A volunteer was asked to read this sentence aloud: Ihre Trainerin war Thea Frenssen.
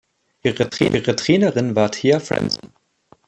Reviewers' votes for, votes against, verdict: 0, 3, rejected